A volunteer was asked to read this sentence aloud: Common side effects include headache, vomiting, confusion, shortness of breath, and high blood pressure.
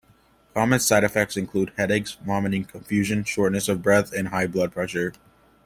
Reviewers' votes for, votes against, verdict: 2, 0, accepted